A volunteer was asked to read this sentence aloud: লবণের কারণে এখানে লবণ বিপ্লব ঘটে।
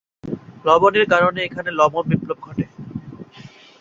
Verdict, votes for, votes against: accepted, 3, 0